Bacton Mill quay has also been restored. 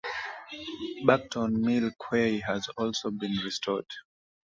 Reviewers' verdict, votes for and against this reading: accepted, 2, 1